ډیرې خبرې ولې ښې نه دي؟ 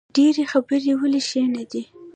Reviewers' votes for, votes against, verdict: 1, 2, rejected